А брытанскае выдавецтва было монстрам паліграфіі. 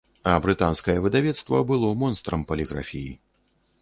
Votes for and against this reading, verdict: 1, 2, rejected